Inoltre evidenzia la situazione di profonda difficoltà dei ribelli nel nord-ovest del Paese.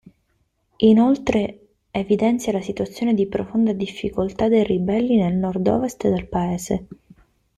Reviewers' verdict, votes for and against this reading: accepted, 2, 1